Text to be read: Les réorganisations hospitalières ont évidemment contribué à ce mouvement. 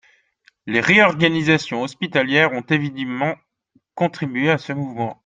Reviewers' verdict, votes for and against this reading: rejected, 0, 2